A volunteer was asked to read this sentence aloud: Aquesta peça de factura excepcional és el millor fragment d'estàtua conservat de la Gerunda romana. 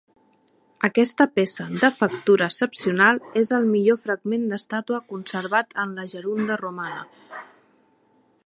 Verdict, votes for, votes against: rejected, 0, 2